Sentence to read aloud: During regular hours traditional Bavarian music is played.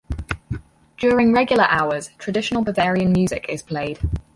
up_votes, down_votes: 4, 0